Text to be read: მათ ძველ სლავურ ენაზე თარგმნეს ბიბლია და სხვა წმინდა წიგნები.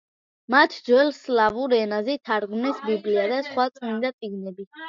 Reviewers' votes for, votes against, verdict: 0, 2, rejected